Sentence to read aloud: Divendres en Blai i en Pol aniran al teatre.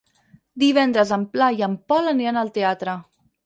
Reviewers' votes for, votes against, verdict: 2, 4, rejected